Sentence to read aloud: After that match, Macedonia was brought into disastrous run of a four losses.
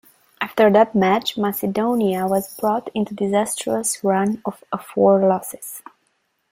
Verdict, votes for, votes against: rejected, 0, 2